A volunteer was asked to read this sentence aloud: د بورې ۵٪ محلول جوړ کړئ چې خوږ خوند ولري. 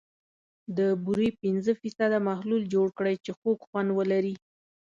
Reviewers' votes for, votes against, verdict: 0, 2, rejected